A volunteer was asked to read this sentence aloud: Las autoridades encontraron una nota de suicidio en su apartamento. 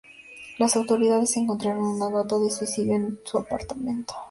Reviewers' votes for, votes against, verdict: 2, 0, accepted